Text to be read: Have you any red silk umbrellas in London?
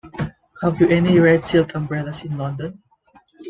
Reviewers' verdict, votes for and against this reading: accepted, 2, 0